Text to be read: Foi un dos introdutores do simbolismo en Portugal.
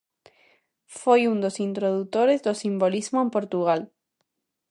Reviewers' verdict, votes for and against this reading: accepted, 2, 0